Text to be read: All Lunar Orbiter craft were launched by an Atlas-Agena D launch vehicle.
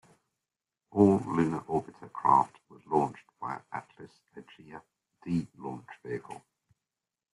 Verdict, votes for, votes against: accepted, 2, 1